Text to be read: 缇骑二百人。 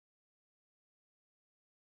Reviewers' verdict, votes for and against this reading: rejected, 0, 3